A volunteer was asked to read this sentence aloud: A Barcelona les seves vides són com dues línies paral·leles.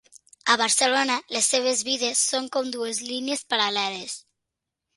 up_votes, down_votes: 3, 0